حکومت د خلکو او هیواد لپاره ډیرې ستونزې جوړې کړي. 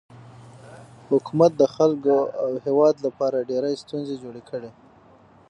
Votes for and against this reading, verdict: 3, 6, rejected